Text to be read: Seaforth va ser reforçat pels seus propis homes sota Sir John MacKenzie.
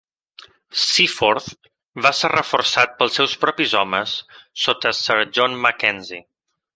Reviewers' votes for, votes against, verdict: 3, 0, accepted